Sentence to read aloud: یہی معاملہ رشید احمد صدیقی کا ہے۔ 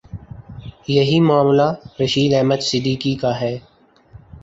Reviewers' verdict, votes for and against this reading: accepted, 3, 0